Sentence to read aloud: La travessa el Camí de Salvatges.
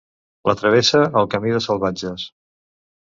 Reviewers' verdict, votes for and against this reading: accepted, 2, 0